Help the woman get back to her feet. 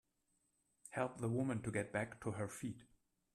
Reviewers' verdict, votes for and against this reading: rejected, 0, 2